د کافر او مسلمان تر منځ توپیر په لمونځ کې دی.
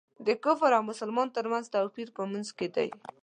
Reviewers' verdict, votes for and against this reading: accepted, 2, 0